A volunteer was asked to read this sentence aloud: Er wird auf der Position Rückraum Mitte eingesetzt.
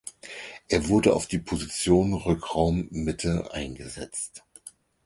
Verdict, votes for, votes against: rejected, 0, 4